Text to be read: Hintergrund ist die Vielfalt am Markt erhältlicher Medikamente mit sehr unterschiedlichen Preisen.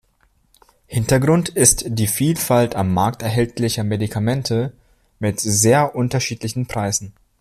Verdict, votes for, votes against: accepted, 2, 0